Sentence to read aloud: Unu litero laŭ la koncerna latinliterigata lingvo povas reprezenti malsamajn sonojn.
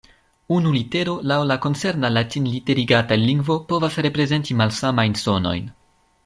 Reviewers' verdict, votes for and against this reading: accepted, 2, 1